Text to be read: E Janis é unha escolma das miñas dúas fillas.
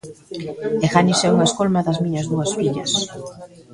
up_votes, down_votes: 0, 2